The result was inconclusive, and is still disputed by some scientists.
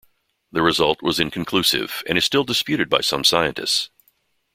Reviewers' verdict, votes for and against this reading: accepted, 2, 0